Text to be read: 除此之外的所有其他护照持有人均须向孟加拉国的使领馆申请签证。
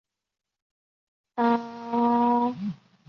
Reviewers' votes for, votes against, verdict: 2, 0, accepted